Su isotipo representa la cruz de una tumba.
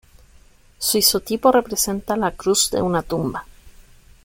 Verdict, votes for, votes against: accepted, 2, 0